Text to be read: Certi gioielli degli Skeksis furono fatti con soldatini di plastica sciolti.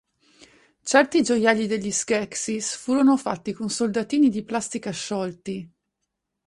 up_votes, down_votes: 4, 0